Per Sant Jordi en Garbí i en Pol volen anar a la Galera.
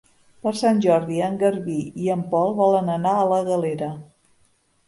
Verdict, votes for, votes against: accepted, 3, 0